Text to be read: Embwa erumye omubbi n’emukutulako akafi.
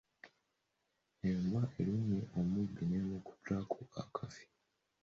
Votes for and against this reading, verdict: 1, 2, rejected